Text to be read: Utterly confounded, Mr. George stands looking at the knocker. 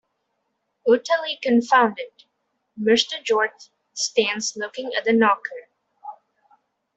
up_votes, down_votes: 2, 1